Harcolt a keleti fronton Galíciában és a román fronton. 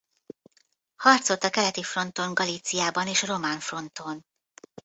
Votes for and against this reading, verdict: 0, 2, rejected